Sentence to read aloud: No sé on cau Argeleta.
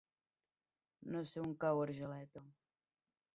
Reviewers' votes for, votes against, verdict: 4, 0, accepted